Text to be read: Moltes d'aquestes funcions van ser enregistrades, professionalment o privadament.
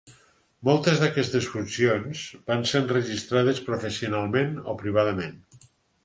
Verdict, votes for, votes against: accepted, 6, 0